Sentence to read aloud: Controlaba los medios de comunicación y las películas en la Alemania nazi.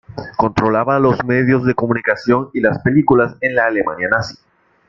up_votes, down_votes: 0, 2